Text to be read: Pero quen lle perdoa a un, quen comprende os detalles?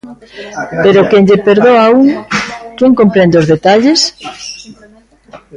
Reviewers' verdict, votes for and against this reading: rejected, 1, 2